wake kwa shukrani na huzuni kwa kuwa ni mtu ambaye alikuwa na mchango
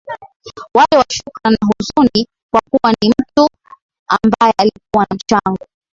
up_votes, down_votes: 1, 2